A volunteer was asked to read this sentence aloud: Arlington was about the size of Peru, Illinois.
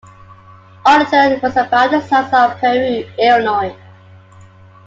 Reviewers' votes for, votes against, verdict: 0, 2, rejected